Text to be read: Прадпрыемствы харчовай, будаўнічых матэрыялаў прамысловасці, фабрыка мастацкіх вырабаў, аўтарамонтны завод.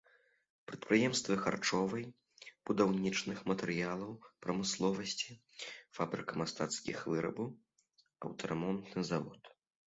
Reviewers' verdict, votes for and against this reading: rejected, 1, 2